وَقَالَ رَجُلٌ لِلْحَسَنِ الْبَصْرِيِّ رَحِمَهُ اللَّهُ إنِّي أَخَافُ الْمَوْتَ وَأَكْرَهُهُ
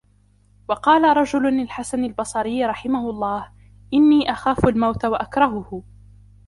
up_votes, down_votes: 1, 2